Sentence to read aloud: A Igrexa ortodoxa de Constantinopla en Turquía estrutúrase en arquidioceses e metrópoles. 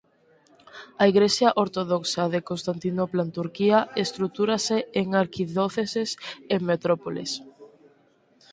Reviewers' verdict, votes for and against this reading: rejected, 0, 2